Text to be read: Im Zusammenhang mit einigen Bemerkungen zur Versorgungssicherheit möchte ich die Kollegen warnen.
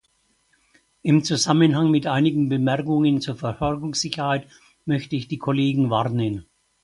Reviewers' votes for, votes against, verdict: 2, 4, rejected